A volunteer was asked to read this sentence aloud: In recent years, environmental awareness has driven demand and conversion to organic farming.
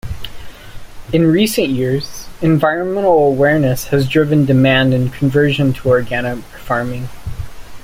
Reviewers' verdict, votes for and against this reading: accepted, 2, 0